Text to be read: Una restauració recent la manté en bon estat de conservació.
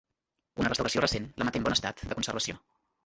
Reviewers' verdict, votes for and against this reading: rejected, 1, 2